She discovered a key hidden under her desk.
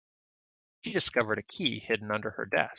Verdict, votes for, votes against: rejected, 1, 2